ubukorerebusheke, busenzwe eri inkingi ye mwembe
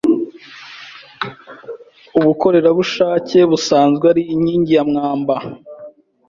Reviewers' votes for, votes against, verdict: 1, 2, rejected